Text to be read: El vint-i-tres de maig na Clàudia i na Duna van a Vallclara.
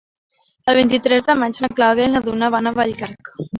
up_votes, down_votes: 0, 2